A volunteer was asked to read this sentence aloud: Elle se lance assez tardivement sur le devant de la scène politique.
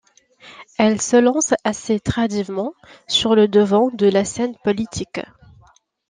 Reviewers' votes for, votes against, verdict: 1, 2, rejected